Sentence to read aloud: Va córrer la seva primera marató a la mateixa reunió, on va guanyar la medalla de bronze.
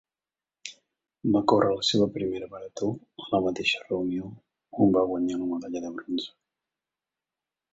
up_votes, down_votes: 0, 2